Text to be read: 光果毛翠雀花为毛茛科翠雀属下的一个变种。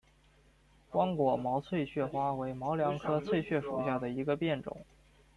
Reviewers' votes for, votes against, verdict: 1, 2, rejected